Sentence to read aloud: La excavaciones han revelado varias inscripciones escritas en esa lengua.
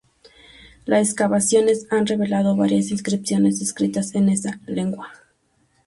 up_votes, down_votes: 0, 2